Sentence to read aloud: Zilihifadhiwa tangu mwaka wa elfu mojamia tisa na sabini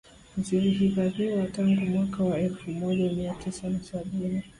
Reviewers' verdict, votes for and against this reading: accepted, 4, 0